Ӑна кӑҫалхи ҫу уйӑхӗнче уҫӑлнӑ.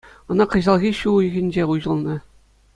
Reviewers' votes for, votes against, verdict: 2, 0, accepted